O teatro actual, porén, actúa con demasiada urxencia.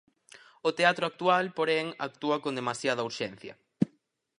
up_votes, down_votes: 4, 0